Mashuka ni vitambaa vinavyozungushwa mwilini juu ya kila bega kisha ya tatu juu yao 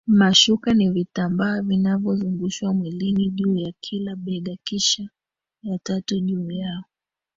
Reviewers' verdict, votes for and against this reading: rejected, 0, 2